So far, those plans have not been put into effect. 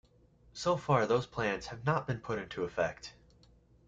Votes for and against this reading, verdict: 2, 1, accepted